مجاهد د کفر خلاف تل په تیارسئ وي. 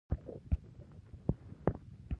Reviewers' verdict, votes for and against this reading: rejected, 0, 2